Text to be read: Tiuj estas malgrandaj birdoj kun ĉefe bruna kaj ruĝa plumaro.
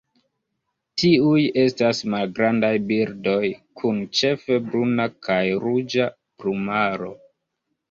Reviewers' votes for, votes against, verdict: 1, 2, rejected